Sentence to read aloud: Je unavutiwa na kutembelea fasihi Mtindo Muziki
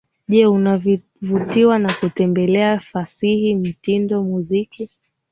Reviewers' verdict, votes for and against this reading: accepted, 9, 0